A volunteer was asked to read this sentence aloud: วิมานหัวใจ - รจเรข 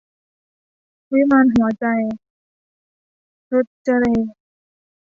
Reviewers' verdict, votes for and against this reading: rejected, 0, 2